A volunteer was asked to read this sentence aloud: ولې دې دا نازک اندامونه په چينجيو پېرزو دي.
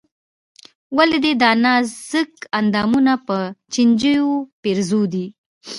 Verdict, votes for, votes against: accepted, 2, 0